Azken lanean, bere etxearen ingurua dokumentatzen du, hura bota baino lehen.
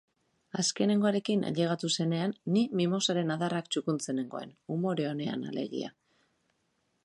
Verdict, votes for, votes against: rejected, 0, 2